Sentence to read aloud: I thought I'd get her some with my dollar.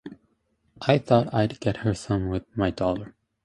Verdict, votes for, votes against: accepted, 2, 0